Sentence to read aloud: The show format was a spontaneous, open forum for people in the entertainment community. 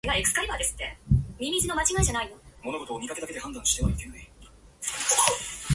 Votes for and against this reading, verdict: 0, 2, rejected